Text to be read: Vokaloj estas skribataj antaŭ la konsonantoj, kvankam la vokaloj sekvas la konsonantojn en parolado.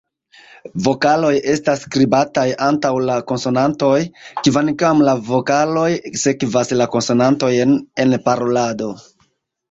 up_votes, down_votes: 0, 2